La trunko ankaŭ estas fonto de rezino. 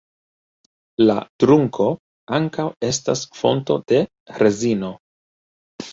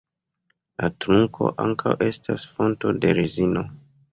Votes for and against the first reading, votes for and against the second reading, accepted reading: 3, 1, 1, 2, first